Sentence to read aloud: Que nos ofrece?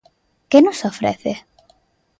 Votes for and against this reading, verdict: 2, 0, accepted